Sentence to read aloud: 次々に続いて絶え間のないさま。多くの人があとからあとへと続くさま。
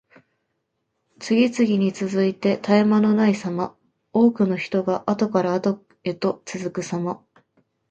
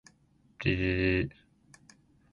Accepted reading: first